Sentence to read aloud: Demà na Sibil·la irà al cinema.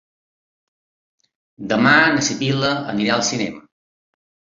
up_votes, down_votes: 2, 1